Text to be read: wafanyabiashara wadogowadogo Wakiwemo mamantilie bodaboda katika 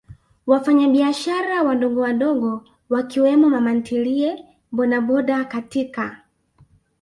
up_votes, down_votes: 4, 0